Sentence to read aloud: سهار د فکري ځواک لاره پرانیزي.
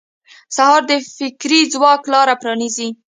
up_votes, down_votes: 2, 0